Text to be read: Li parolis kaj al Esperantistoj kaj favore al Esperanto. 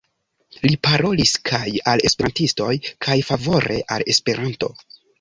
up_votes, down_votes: 2, 0